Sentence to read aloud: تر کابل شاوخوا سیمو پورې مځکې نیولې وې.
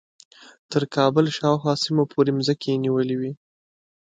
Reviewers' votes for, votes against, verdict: 2, 0, accepted